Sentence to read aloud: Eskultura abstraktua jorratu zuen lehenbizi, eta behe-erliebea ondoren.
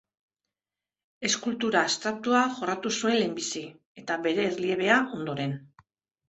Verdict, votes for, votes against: rejected, 0, 2